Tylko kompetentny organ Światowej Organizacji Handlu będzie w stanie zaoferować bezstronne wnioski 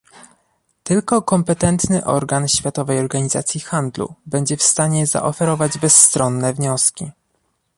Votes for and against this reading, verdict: 2, 0, accepted